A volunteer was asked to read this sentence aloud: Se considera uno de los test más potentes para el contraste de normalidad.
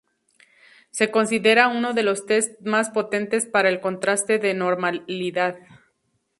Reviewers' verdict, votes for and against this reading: accepted, 2, 0